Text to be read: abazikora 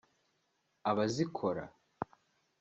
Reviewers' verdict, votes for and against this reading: accepted, 2, 0